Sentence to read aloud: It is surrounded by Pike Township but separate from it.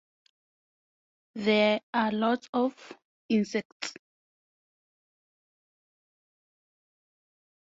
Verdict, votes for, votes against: rejected, 0, 4